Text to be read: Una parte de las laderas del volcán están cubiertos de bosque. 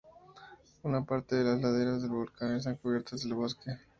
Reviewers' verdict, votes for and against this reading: rejected, 0, 2